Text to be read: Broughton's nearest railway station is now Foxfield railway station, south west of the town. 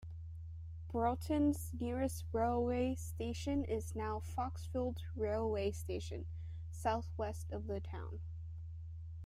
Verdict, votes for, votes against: accepted, 2, 0